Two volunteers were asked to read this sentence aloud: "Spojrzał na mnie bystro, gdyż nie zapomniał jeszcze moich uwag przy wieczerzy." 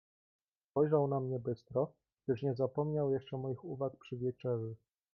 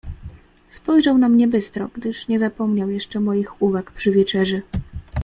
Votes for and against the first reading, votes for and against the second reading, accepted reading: 1, 2, 2, 0, second